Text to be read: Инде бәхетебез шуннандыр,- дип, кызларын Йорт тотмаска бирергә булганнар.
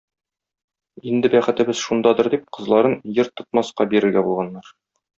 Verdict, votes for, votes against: rejected, 0, 2